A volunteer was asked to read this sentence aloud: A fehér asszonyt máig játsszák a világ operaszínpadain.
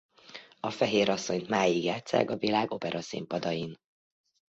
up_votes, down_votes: 2, 0